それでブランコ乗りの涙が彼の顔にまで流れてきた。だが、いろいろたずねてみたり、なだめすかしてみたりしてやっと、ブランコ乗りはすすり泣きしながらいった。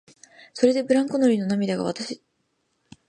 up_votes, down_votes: 0, 2